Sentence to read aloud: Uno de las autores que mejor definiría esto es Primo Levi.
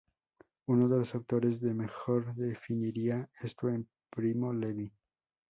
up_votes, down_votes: 2, 0